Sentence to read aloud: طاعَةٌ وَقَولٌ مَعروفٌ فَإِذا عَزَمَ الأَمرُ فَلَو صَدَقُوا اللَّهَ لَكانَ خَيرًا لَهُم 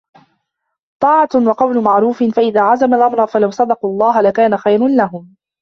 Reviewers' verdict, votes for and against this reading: rejected, 1, 2